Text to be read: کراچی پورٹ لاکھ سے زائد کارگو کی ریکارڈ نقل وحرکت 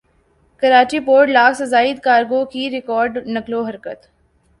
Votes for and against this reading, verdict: 11, 0, accepted